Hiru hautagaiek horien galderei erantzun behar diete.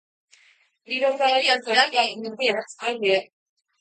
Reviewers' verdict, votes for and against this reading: rejected, 0, 2